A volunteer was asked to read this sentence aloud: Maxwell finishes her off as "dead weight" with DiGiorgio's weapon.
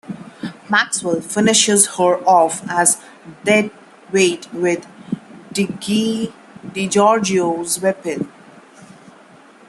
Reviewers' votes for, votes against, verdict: 1, 2, rejected